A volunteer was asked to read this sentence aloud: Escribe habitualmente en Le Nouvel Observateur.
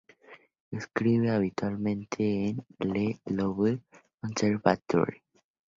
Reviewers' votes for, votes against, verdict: 0, 2, rejected